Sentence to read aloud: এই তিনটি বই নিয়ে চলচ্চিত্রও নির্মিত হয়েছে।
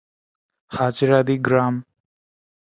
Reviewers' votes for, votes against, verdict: 0, 2, rejected